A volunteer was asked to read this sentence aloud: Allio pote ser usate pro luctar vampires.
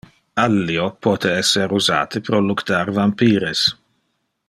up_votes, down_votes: 1, 2